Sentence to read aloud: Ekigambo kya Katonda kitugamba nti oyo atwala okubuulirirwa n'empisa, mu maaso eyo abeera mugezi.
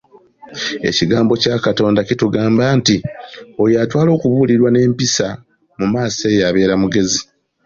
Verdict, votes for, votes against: accepted, 2, 0